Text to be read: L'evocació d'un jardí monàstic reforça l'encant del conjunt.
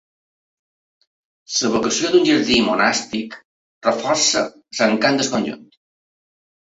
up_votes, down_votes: 1, 2